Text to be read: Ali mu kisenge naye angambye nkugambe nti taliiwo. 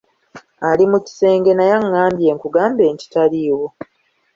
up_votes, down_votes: 2, 0